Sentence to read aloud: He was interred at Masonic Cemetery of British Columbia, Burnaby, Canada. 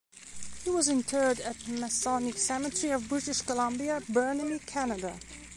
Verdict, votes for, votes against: accepted, 2, 1